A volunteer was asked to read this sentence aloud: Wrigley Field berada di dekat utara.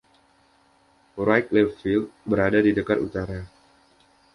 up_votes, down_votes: 2, 0